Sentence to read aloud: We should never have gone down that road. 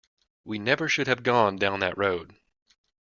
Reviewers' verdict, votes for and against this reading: rejected, 0, 2